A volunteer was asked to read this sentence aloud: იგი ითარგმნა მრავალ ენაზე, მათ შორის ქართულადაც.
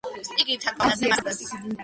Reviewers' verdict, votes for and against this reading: rejected, 0, 2